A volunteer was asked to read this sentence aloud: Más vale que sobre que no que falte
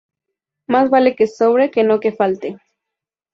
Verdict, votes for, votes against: accepted, 2, 0